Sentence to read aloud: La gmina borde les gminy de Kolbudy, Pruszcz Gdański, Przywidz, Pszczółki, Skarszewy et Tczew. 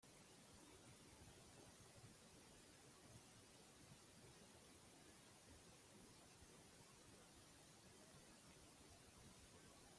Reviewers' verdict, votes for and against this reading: rejected, 0, 2